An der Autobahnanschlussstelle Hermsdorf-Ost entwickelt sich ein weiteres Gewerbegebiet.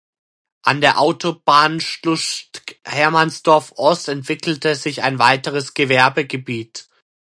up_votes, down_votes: 0, 2